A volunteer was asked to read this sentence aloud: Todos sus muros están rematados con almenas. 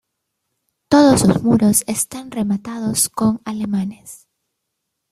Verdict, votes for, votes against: rejected, 1, 3